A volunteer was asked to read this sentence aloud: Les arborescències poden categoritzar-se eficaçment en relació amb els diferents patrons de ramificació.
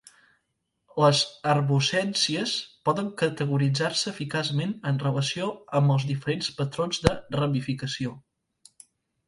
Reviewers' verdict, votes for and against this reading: rejected, 0, 2